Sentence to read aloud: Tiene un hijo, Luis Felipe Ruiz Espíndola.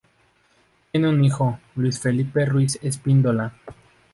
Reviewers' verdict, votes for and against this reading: rejected, 0, 2